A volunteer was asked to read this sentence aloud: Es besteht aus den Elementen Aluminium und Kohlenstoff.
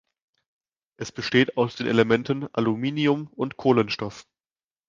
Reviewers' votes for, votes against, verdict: 2, 0, accepted